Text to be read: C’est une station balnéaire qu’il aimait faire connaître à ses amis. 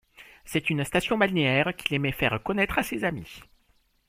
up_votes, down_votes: 2, 0